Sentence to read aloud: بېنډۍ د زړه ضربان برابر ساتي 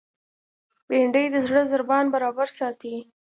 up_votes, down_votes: 2, 0